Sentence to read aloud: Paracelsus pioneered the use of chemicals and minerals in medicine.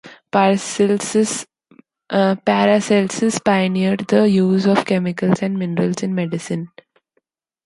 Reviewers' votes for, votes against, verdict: 1, 2, rejected